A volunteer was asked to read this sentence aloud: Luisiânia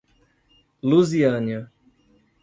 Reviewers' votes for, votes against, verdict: 2, 3, rejected